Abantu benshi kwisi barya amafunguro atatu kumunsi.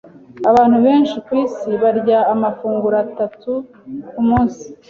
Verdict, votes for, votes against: accepted, 2, 0